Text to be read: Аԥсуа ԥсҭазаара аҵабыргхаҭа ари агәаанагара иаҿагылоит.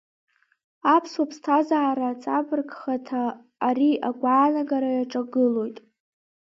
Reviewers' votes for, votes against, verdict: 1, 2, rejected